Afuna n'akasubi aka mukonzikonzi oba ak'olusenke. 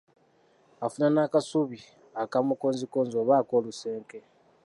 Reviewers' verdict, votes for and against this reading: accepted, 2, 1